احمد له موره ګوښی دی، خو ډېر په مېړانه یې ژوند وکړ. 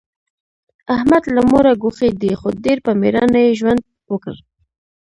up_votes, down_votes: 1, 2